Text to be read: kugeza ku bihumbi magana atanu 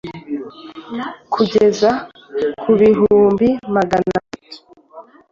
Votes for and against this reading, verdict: 1, 2, rejected